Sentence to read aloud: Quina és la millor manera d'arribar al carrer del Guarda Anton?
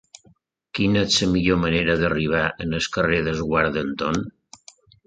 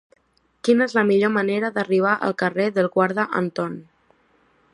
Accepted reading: second